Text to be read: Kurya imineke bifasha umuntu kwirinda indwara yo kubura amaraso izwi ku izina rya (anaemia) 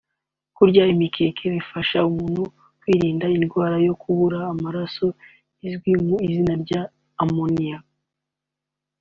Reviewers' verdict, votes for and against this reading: accepted, 2, 0